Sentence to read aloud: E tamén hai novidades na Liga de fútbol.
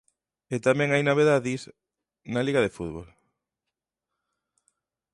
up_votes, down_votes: 0, 2